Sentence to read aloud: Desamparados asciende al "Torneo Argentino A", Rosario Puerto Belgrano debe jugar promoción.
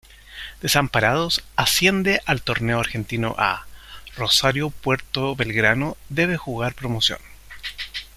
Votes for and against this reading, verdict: 2, 0, accepted